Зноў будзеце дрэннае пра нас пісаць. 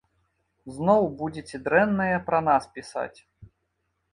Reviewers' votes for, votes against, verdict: 2, 0, accepted